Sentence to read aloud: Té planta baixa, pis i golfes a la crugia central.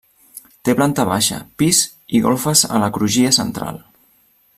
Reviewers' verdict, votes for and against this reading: accepted, 3, 0